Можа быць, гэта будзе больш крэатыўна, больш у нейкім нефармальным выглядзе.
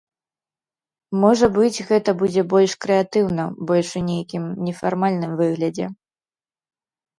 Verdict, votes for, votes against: accepted, 2, 0